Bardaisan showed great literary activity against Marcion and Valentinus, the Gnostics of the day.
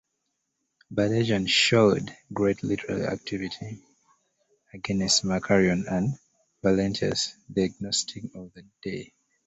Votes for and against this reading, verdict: 0, 2, rejected